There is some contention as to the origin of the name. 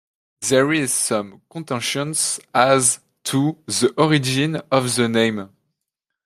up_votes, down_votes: 0, 2